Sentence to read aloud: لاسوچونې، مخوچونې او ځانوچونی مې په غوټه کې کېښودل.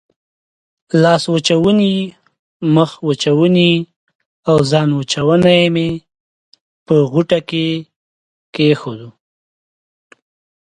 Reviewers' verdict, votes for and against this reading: accepted, 2, 0